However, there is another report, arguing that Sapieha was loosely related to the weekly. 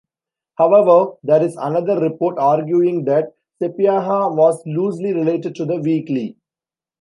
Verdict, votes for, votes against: accepted, 2, 0